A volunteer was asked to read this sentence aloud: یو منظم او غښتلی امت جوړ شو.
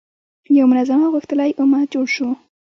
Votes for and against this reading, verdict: 2, 1, accepted